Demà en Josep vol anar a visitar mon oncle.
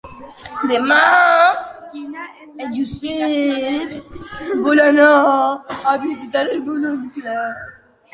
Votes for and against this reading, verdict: 0, 2, rejected